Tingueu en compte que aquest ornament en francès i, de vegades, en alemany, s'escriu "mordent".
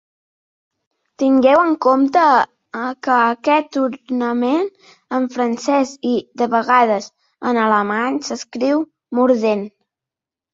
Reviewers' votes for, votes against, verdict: 0, 2, rejected